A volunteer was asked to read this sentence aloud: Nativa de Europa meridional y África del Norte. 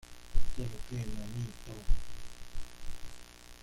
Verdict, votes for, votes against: rejected, 0, 2